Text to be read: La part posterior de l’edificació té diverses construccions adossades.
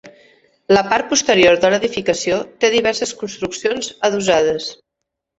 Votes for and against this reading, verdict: 3, 0, accepted